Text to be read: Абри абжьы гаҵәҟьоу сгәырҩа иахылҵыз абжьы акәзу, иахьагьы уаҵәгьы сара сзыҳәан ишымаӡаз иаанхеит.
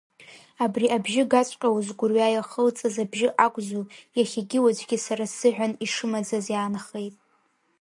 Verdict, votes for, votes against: accepted, 3, 0